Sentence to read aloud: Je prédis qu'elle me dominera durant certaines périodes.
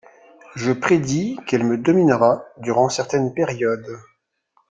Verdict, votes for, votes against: accepted, 2, 0